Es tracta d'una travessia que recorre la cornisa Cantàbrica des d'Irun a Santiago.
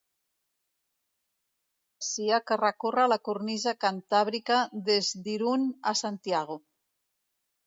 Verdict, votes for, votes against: rejected, 0, 2